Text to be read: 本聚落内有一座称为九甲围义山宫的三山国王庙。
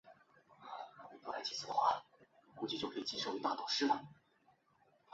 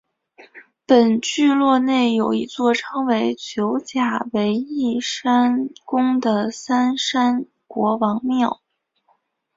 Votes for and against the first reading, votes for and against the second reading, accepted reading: 0, 2, 2, 1, second